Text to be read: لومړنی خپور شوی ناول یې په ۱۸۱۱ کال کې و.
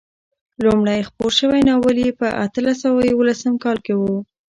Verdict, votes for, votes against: rejected, 0, 2